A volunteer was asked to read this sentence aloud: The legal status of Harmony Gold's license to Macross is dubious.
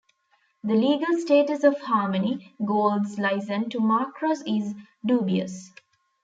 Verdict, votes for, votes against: accepted, 2, 0